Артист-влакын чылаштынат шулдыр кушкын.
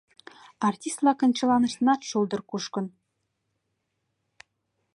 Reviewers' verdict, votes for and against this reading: rejected, 1, 2